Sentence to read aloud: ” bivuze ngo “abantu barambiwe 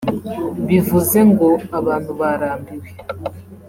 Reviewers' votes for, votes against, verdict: 2, 0, accepted